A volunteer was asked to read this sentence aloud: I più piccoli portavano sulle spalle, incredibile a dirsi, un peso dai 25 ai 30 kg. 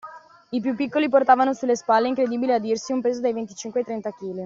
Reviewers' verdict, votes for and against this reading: rejected, 0, 2